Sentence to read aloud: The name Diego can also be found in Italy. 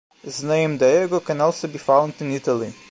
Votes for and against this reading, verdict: 0, 2, rejected